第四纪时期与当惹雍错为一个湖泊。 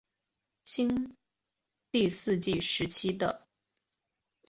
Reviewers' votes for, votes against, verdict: 0, 3, rejected